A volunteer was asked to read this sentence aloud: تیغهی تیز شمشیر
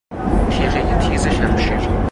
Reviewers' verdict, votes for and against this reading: rejected, 2, 2